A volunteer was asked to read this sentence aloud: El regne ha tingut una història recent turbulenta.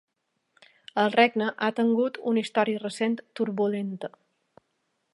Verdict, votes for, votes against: rejected, 0, 2